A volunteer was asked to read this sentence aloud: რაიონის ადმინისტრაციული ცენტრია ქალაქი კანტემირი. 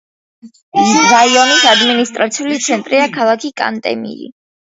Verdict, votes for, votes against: accepted, 2, 1